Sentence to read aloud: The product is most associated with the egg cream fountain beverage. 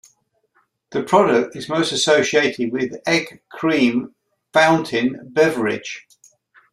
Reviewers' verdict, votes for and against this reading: rejected, 0, 2